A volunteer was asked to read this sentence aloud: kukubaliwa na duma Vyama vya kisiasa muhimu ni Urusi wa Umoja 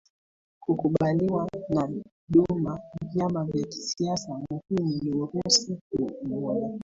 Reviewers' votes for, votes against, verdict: 1, 2, rejected